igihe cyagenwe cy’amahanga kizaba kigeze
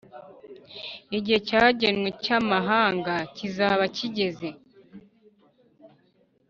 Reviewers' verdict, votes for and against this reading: accepted, 2, 0